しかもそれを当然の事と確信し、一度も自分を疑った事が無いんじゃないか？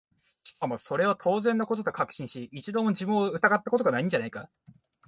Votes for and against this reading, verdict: 6, 0, accepted